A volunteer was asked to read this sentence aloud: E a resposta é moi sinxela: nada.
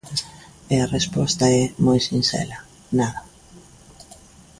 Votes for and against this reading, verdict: 2, 0, accepted